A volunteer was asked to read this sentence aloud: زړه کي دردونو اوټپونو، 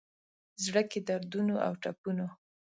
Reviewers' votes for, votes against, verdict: 2, 0, accepted